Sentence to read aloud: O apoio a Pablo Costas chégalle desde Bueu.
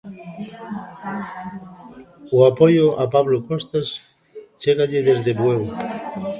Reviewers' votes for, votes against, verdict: 2, 0, accepted